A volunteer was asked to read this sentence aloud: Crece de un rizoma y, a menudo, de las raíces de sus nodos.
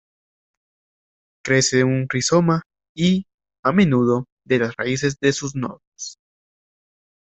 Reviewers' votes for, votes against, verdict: 0, 2, rejected